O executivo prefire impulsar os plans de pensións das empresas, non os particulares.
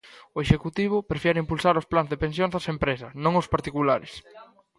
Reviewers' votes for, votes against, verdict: 1, 2, rejected